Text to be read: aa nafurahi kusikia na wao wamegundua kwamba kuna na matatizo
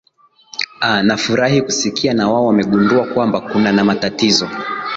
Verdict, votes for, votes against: accepted, 4, 0